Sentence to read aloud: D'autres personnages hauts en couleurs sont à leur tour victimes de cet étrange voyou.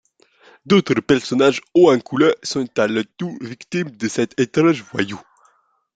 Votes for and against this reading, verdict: 1, 2, rejected